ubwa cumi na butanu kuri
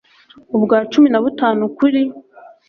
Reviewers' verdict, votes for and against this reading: accepted, 2, 0